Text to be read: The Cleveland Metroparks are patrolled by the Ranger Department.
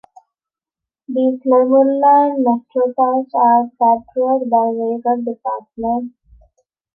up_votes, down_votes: 0, 2